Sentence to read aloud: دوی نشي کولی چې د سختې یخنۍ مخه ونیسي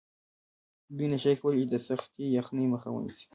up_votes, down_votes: 1, 2